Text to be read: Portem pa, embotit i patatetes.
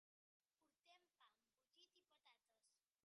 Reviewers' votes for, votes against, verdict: 1, 3, rejected